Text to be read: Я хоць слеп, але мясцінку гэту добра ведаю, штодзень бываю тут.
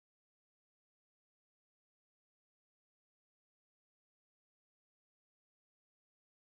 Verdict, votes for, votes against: rejected, 0, 2